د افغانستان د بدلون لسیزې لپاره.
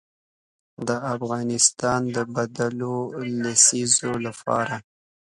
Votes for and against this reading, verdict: 2, 0, accepted